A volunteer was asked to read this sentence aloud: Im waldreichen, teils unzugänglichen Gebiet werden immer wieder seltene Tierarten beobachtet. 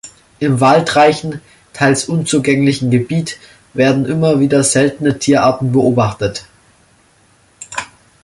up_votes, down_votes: 2, 0